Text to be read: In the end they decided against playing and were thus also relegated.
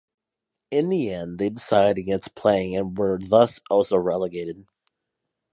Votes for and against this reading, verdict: 2, 1, accepted